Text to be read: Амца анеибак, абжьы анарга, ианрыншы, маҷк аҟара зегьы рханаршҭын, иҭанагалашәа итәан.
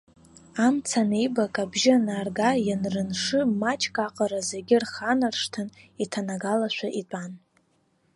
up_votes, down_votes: 1, 2